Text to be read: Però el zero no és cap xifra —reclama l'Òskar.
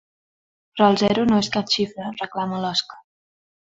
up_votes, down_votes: 2, 0